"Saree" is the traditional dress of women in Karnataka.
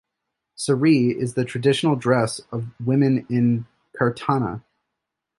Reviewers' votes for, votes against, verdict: 0, 2, rejected